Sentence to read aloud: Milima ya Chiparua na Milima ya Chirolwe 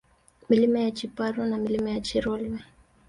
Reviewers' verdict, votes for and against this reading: accepted, 2, 0